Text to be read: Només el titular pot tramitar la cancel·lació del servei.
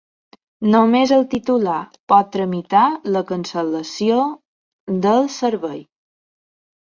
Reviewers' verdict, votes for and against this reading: accepted, 4, 0